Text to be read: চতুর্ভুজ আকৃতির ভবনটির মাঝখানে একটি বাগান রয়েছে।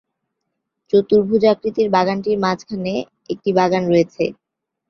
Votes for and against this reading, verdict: 6, 8, rejected